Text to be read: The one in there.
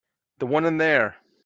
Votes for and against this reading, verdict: 3, 0, accepted